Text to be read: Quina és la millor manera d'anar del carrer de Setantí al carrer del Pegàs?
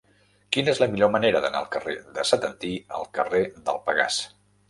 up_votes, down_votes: 0, 2